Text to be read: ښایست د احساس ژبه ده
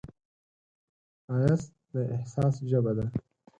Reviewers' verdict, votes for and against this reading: accepted, 4, 0